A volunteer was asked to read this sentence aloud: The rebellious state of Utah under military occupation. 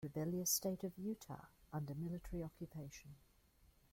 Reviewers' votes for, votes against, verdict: 1, 2, rejected